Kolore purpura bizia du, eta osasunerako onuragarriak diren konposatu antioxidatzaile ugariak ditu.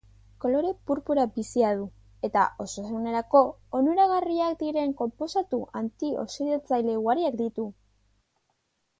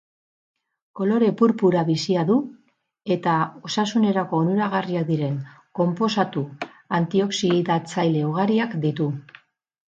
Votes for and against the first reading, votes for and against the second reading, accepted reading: 2, 0, 2, 2, first